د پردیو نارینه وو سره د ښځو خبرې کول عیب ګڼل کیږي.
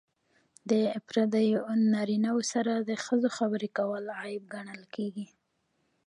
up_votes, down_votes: 2, 1